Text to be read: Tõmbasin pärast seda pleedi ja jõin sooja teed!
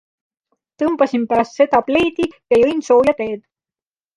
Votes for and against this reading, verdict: 2, 0, accepted